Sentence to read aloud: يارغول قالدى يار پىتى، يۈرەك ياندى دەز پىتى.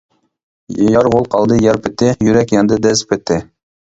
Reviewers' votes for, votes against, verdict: 0, 2, rejected